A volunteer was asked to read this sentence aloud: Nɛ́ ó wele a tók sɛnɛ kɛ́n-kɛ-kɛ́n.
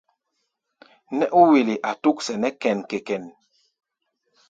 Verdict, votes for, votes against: rejected, 1, 2